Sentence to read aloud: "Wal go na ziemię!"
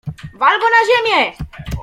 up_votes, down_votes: 2, 0